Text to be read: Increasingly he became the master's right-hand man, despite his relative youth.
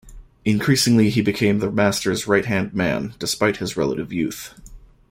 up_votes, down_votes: 2, 0